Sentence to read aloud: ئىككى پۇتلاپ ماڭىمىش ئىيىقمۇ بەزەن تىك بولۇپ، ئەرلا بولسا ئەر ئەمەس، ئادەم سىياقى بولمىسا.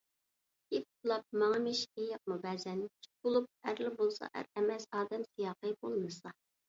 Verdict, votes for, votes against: rejected, 0, 2